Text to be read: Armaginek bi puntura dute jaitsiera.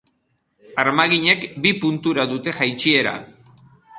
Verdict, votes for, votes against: accepted, 2, 0